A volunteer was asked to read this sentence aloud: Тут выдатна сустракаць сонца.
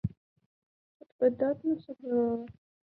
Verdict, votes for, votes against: rejected, 0, 2